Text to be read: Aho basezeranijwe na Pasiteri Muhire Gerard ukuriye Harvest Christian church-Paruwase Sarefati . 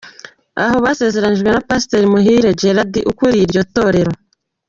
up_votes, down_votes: 0, 2